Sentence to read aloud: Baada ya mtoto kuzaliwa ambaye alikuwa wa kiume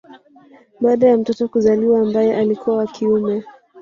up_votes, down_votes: 1, 2